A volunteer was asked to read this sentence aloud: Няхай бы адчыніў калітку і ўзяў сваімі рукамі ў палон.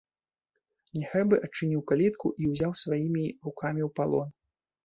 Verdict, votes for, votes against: accepted, 2, 0